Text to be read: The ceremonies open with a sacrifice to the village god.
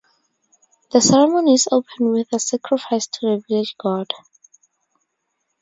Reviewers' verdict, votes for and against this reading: accepted, 4, 2